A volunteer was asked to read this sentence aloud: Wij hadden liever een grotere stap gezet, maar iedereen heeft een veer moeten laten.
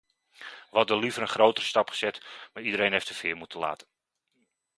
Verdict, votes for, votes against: rejected, 0, 2